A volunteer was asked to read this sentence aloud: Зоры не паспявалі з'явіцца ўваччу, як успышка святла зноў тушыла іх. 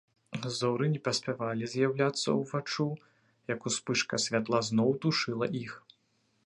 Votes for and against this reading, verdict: 1, 2, rejected